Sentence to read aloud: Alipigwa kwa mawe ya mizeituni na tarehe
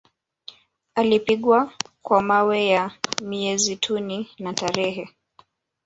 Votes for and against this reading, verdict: 2, 1, accepted